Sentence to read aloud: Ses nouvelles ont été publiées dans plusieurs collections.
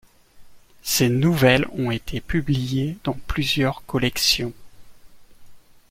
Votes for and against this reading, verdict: 2, 1, accepted